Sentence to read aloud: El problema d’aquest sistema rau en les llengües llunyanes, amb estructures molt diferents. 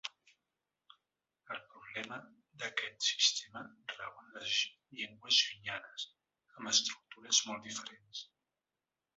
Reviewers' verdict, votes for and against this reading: accepted, 3, 1